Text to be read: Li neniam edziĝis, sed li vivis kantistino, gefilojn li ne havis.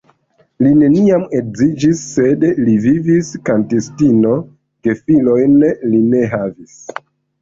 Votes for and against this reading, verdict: 2, 1, accepted